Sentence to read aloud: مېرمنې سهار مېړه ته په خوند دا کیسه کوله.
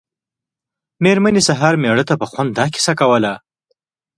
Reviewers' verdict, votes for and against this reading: accepted, 2, 0